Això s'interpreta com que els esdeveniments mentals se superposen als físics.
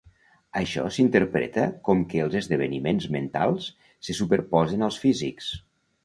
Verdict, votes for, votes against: accepted, 2, 0